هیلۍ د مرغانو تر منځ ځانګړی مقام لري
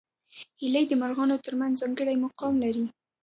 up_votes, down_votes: 1, 2